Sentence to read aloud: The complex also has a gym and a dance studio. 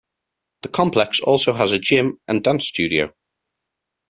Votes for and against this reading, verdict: 1, 2, rejected